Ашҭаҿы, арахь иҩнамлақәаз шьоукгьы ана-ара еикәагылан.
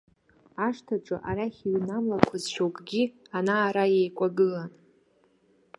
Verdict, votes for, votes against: rejected, 1, 2